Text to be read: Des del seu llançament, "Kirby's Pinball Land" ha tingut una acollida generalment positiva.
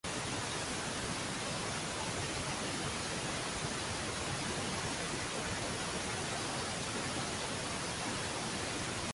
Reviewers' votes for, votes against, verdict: 0, 2, rejected